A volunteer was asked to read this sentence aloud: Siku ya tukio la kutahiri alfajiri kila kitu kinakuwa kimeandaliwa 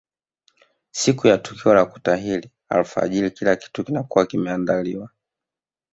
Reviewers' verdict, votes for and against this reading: rejected, 0, 2